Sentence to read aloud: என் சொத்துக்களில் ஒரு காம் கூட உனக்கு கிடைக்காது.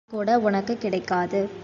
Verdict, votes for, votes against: rejected, 0, 2